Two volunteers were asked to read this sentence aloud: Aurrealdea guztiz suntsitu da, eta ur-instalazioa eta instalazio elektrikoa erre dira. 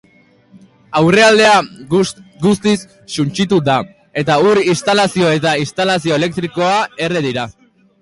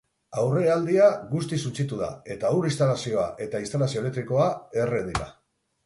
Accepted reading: second